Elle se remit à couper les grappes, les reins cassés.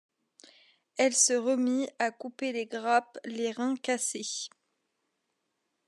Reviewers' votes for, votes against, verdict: 2, 0, accepted